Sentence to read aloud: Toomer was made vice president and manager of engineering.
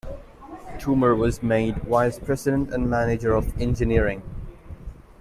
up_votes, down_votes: 2, 1